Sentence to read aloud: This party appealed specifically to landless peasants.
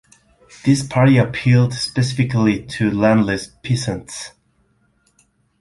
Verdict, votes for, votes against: accepted, 2, 1